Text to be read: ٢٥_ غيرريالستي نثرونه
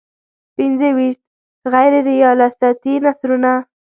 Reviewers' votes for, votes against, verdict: 0, 2, rejected